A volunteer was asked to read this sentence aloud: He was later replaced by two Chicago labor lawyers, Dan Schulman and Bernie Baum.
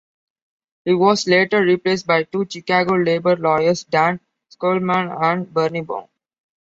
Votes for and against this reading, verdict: 2, 0, accepted